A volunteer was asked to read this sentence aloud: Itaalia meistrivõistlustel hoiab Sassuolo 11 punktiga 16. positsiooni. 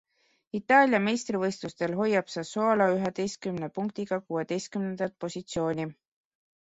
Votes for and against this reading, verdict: 0, 2, rejected